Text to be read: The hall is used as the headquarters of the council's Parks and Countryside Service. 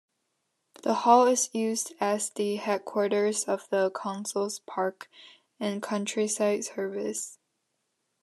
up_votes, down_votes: 2, 0